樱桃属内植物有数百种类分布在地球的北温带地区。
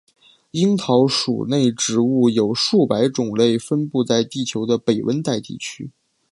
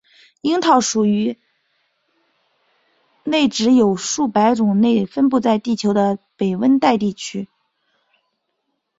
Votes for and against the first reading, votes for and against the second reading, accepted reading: 8, 0, 0, 3, first